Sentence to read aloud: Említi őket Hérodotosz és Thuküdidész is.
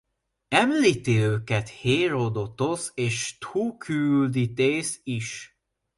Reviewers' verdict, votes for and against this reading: rejected, 0, 2